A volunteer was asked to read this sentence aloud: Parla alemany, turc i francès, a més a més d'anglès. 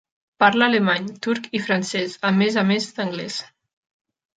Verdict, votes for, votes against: accepted, 3, 0